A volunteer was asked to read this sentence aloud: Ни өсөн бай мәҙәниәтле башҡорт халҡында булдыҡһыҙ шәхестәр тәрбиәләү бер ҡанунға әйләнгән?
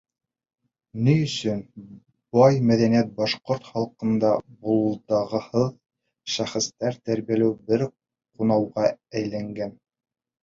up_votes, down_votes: 0, 3